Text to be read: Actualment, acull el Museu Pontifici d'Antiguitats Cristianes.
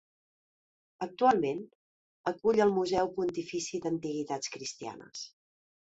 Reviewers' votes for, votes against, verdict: 2, 0, accepted